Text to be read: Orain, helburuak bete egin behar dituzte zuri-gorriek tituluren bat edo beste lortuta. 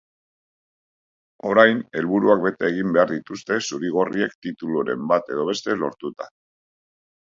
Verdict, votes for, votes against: accepted, 3, 0